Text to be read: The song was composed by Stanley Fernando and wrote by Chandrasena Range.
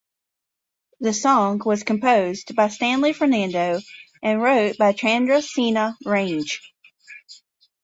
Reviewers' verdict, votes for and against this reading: accepted, 2, 0